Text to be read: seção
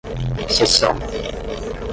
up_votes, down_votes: 5, 10